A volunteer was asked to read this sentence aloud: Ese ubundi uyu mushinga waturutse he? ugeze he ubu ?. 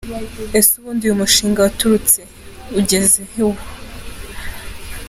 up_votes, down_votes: 2, 0